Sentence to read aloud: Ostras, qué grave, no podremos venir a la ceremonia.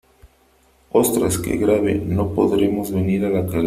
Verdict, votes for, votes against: rejected, 0, 3